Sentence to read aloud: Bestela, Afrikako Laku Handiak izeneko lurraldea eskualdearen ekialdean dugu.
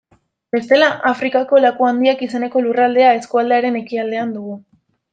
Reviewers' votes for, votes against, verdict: 2, 0, accepted